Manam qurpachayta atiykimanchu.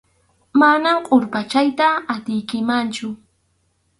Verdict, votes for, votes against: rejected, 2, 2